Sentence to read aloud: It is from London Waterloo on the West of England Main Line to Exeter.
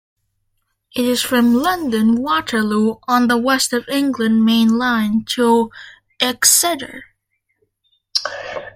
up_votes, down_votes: 2, 0